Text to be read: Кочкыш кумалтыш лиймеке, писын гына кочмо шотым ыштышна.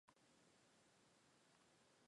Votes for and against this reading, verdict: 1, 2, rejected